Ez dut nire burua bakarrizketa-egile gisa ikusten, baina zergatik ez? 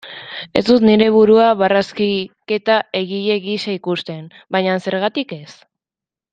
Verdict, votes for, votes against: rejected, 0, 2